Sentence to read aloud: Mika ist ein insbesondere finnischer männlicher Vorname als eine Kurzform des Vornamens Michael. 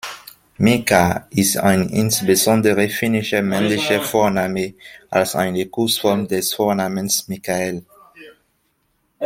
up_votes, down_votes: 0, 2